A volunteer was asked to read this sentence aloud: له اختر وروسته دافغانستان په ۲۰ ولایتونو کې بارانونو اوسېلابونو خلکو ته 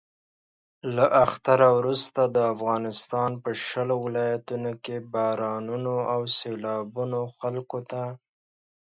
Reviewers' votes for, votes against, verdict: 0, 2, rejected